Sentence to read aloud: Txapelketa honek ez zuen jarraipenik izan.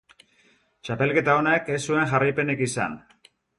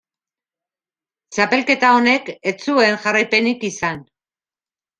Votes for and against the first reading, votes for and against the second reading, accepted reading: 2, 0, 0, 2, first